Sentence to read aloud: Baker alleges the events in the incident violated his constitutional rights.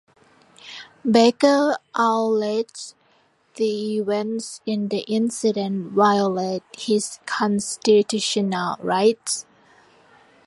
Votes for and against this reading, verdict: 2, 0, accepted